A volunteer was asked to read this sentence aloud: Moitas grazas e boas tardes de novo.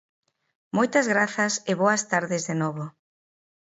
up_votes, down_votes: 2, 0